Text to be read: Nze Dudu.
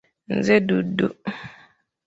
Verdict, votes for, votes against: accepted, 2, 1